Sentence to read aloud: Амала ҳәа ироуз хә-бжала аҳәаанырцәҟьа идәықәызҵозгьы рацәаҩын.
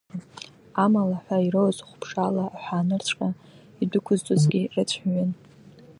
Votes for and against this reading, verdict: 1, 2, rejected